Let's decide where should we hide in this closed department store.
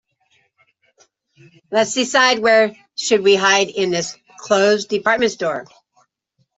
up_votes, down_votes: 2, 0